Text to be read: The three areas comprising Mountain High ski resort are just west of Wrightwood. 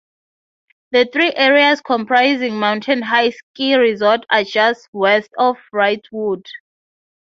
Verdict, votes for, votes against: accepted, 3, 0